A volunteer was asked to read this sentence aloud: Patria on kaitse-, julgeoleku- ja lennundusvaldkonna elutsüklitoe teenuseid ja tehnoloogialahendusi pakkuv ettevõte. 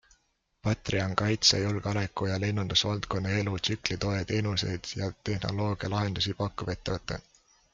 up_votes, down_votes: 2, 0